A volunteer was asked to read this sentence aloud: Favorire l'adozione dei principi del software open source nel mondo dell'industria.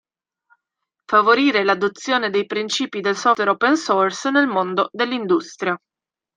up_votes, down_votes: 0, 2